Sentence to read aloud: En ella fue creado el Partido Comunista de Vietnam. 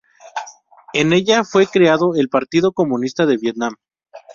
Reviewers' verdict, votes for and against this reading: rejected, 0, 2